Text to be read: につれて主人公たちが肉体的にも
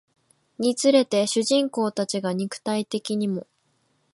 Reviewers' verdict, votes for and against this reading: rejected, 1, 2